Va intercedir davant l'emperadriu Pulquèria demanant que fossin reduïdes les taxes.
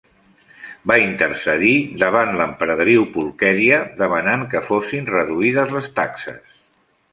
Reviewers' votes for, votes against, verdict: 2, 0, accepted